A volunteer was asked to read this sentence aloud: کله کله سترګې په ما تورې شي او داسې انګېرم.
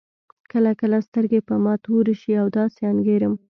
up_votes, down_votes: 2, 0